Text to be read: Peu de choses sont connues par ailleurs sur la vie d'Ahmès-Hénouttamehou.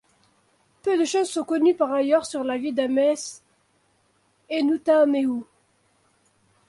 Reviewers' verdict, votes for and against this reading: accepted, 2, 1